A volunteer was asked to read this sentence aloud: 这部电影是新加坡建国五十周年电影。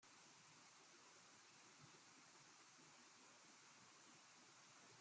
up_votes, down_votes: 0, 2